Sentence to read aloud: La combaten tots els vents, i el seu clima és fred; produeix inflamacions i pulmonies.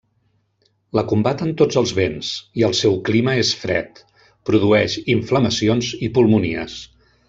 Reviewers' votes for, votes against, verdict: 0, 2, rejected